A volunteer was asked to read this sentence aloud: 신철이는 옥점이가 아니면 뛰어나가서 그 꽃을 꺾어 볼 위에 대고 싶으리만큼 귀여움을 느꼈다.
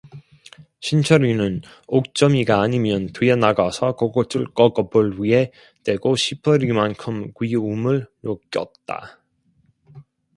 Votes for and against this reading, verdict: 0, 2, rejected